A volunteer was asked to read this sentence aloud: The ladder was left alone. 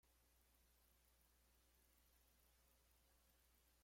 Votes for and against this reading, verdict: 0, 2, rejected